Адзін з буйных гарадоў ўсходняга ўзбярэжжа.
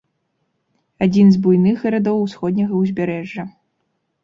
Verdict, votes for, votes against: accepted, 2, 0